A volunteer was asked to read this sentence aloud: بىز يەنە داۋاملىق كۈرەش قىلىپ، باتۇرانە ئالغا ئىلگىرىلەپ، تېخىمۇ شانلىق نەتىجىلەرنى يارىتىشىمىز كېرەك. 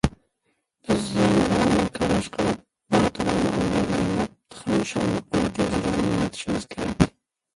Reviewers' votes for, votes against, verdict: 0, 2, rejected